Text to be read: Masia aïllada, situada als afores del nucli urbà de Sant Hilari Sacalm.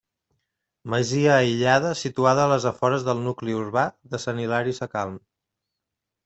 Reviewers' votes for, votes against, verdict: 1, 2, rejected